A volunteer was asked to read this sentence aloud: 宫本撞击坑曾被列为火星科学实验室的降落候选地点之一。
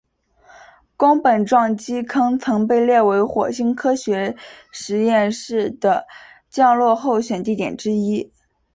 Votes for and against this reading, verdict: 9, 0, accepted